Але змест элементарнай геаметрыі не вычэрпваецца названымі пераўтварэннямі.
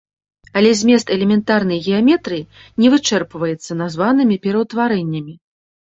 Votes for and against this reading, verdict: 2, 0, accepted